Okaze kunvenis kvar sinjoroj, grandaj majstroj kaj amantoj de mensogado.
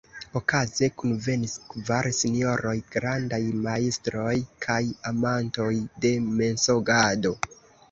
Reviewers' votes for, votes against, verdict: 1, 2, rejected